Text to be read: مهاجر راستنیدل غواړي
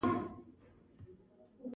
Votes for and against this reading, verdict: 1, 2, rejected